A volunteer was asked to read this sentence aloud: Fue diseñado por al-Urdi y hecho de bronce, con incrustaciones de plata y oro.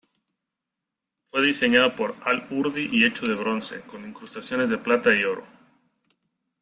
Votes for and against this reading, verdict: 0, 2, rejected